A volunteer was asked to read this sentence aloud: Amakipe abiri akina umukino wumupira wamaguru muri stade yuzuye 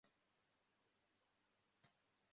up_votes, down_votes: 0, 2